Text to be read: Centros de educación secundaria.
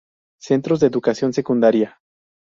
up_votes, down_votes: 4, 0